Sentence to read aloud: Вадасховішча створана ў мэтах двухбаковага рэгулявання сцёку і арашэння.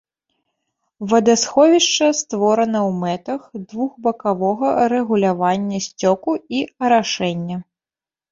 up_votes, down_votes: 0, 2